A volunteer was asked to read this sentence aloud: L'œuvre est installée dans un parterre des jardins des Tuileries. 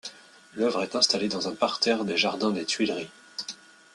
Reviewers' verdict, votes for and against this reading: accepted, 2, 0